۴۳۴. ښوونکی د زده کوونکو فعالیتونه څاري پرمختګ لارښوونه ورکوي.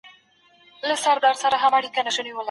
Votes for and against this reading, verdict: 0, 2, rejected